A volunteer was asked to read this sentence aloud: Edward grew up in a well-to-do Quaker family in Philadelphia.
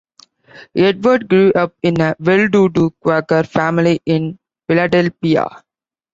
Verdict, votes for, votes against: accepted, 2, 1